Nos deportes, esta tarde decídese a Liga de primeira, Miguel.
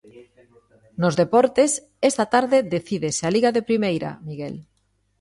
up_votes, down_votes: 2, 0